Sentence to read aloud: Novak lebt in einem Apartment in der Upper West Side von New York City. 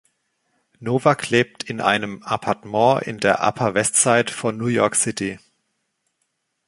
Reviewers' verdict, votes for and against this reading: rejected, 1, 2